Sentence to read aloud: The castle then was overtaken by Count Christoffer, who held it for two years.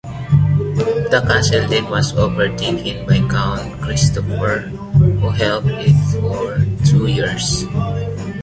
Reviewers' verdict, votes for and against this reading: accepted, 2, 1